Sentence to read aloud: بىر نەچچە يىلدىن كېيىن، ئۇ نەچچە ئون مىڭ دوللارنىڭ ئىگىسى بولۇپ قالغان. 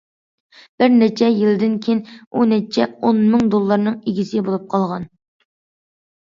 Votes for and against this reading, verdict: 2, 0, accepted